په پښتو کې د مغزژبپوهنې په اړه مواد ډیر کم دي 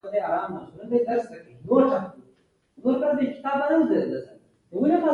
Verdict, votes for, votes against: rejected, 1, 2